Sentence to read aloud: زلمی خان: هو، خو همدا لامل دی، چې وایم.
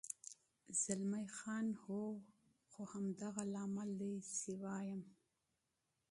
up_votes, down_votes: 0, 2